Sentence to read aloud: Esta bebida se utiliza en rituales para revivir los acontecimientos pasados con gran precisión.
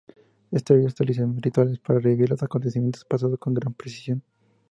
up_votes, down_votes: 0, 2